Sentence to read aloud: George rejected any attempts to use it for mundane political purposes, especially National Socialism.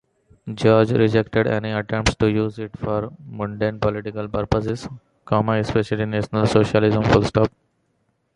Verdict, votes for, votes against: rejected, 1, 2